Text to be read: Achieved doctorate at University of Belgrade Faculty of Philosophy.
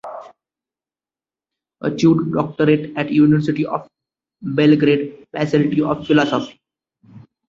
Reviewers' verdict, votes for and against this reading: rejected, 0, 2